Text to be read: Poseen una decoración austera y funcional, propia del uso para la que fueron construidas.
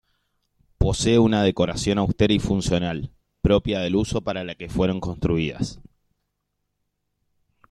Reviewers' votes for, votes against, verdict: 0, 2, rejected